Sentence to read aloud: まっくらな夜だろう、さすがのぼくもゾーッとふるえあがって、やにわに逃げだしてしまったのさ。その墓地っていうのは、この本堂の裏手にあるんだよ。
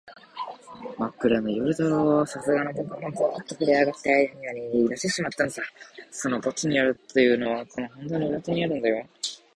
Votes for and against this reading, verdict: 1, 3, rejected